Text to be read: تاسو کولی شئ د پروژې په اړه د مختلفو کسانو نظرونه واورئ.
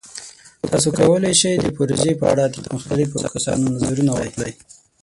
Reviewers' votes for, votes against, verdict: 6, 9, rejected